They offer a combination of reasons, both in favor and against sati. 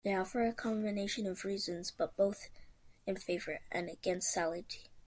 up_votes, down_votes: 0, 2